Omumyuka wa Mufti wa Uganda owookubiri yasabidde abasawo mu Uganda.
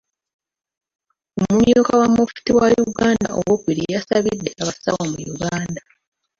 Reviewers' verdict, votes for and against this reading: rejected, 1, 3